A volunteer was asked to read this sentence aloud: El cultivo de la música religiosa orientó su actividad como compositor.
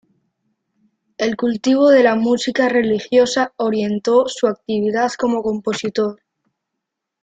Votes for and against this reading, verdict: 2, 1, accepted